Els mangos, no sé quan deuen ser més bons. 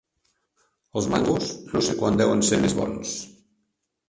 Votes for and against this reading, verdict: 1, 2, rejected